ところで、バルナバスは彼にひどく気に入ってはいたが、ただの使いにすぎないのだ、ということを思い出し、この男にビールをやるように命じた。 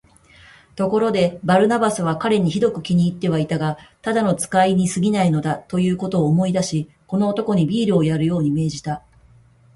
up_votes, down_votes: 2, 0